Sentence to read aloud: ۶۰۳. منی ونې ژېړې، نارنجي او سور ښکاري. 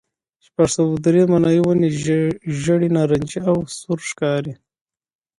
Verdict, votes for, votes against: rejected, 0, 2